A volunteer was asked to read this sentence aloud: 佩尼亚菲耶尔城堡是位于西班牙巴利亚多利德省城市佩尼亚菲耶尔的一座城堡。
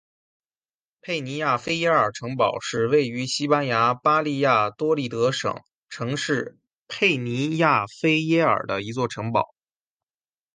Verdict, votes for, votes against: accepted, 6, 0